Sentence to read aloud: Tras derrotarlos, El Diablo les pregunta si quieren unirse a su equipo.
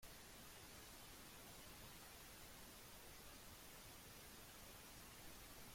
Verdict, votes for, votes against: rejected, 0, 2